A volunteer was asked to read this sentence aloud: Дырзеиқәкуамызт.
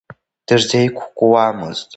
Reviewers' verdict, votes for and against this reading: accepted, 2, 0